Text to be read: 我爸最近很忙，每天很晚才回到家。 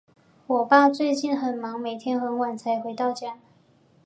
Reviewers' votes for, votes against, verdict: 2, 0, accepted